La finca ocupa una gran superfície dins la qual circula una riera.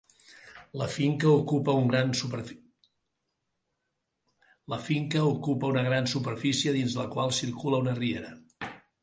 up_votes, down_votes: 0, 2